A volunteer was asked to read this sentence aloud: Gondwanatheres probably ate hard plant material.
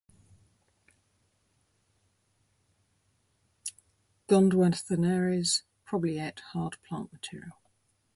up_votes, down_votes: 0, 2